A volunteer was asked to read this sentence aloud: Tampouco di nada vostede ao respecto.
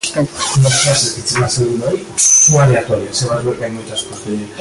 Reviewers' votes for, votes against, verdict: 0, 2, rejected